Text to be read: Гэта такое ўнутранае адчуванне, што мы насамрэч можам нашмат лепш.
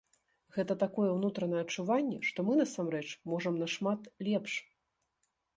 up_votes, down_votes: 2, 0